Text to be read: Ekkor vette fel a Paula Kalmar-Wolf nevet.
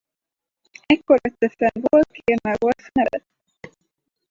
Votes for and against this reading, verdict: 0, 4, rejected